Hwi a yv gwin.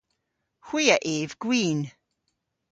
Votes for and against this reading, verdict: 2, 0, accepted